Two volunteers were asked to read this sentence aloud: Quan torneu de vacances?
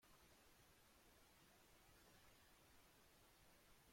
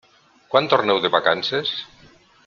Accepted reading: second